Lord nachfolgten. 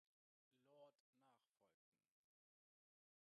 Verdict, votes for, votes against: rejected, 0, 2